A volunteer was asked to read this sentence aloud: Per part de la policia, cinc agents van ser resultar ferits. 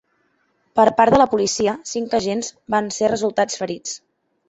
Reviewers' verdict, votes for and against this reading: rejected, 1, 2